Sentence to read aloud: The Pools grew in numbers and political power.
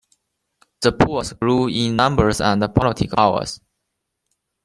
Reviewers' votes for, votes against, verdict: 2, 1, accepted